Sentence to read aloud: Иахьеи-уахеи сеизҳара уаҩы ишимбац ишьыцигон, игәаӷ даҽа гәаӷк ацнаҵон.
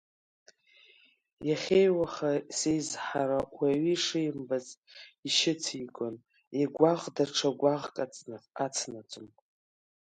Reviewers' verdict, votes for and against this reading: rejected, 1, 2